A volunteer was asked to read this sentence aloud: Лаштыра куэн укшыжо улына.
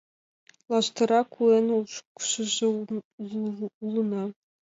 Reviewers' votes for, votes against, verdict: 0, 2, rejected